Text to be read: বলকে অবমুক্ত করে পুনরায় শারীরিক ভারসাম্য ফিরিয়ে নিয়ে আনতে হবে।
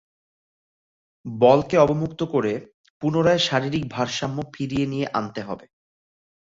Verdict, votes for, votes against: accepted, 2, 0